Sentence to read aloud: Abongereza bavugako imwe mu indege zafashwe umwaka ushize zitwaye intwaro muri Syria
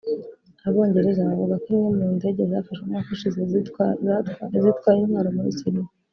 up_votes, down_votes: 1, 2